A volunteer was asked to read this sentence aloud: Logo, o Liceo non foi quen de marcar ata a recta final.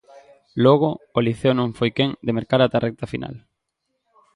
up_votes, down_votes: 0, 2